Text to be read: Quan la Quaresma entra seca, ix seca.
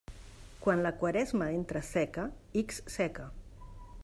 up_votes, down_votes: 1, 2